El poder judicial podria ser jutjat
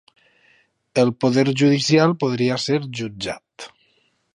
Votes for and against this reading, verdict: 3, 0, accepted